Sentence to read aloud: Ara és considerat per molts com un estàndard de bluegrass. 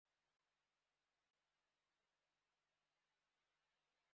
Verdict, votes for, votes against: rejected, 0, 2